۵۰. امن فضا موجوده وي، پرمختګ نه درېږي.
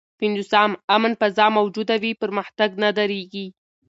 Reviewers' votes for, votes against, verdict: 0, 2, rejected